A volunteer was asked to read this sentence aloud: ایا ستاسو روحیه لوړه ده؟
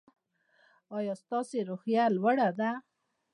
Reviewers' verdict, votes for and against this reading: accepted, 2, 0